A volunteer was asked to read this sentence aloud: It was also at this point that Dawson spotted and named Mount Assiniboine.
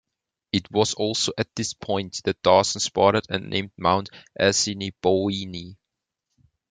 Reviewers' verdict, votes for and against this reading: rejected, 1, 2